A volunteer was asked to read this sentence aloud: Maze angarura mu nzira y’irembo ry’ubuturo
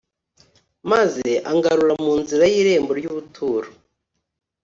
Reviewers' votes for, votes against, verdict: 3, 0, accepted